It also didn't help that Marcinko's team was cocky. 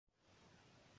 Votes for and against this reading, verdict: 0, 2, rejected